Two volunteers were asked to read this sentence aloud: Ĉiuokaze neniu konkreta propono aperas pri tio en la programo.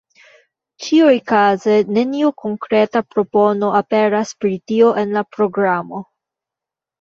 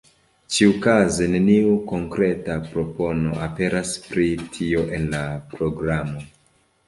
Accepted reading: second